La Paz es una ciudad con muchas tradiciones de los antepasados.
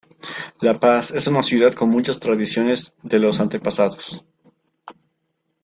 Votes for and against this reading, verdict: 2, 0, accepted